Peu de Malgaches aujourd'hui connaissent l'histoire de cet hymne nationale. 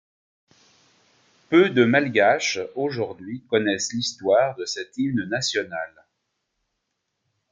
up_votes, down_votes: 2, 0